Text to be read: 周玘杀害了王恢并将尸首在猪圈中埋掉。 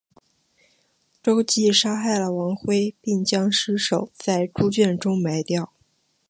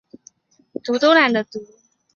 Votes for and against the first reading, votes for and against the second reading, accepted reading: 2, 0, 0, 2, first